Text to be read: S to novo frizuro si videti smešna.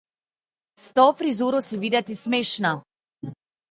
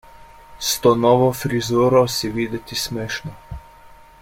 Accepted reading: second